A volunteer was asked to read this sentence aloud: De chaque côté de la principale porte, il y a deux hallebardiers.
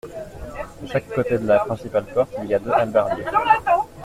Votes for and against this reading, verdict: 2, 1, accepted